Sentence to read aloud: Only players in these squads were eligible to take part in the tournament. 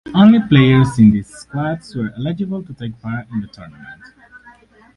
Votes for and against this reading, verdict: 4, 0, accepted